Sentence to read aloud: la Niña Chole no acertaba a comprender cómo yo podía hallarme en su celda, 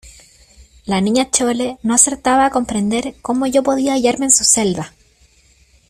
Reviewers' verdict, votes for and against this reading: accepted, 2, 1